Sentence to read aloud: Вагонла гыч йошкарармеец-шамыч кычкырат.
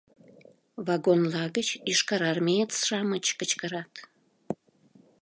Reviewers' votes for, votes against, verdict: 2, 0, accepted